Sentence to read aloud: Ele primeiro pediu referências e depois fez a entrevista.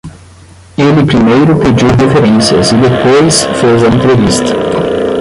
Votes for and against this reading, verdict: 5, 5, rejected